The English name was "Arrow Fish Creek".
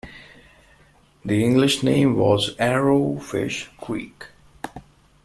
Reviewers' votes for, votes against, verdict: 2, 0, accepted